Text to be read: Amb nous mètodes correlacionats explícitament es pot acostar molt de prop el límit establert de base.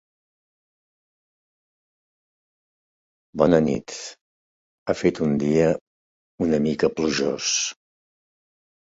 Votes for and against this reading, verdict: 0, 3, rejected